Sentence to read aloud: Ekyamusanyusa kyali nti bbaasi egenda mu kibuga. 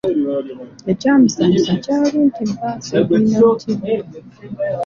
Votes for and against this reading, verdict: 2, 0, accepted